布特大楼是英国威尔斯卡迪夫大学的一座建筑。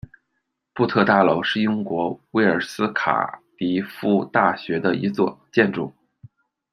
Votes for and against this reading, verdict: 0, 2, rejected